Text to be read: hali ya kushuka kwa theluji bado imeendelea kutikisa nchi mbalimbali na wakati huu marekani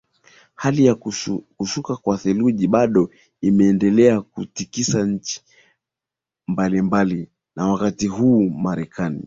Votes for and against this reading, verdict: 2, 1, accepted